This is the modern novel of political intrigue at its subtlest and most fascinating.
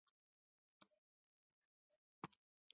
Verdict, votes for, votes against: rejected, 0, 2